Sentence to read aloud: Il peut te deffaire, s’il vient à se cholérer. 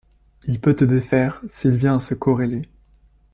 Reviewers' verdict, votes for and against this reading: rejected, 0, 2